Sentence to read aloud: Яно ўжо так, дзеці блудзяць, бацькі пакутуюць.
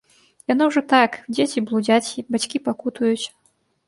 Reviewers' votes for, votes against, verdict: 1, 2, rejected